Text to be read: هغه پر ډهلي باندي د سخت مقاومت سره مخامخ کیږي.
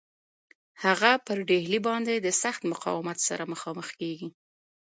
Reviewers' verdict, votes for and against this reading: rejected, 0, 2